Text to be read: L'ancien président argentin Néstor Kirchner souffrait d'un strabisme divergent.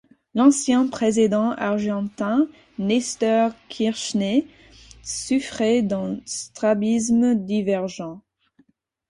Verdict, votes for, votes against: accepted, 4, 2